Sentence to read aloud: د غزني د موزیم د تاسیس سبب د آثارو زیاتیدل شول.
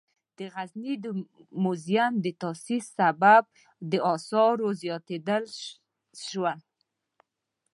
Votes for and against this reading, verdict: 0, 2, rejected